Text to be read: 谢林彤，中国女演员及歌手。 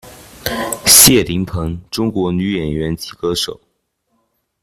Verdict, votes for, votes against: rejected, 0, 2